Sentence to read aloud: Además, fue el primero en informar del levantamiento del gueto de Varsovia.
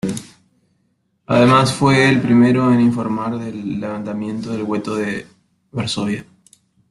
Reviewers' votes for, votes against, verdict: 0, 2, rejected